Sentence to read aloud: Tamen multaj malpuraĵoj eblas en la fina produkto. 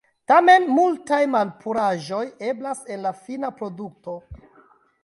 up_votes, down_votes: 1, 2